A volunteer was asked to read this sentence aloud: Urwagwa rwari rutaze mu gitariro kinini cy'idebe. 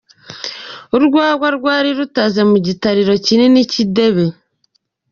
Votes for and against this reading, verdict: 3, 1, accepted